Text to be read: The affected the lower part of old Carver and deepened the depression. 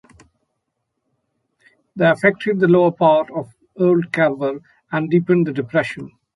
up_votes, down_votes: 2, 0